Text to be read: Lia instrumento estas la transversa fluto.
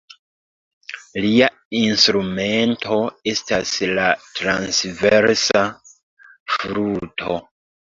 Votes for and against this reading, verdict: 2, 0, accepted